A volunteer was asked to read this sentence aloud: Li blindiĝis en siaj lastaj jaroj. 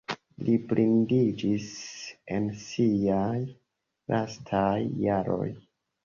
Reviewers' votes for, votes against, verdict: 2, 0, accepted